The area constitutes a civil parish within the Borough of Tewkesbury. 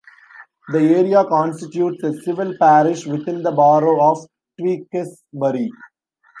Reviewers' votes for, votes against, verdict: 1, 2, rejected